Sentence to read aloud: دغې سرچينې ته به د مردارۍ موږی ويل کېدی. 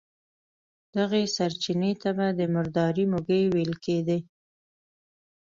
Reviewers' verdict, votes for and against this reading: accepted, 2, 0